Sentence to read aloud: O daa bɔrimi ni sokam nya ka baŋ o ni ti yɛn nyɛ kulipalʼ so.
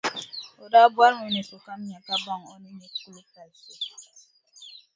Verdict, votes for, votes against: rejected, 1, 2